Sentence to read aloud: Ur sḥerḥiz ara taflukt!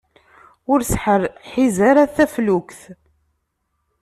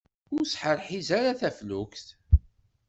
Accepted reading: second